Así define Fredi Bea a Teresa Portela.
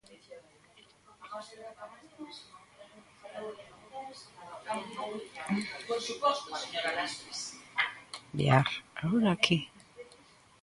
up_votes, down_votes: 0, 2